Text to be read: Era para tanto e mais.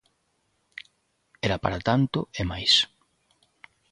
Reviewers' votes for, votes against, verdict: 3, 0, accepted